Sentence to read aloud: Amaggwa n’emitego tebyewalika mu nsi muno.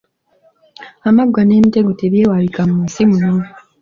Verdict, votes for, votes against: accepted, 2, 0